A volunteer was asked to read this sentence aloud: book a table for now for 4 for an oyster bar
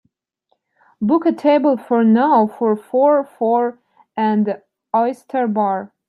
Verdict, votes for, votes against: rejected, 0, 2